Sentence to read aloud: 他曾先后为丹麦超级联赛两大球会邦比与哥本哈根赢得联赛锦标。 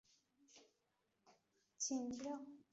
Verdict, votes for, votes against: rejected, 4, 4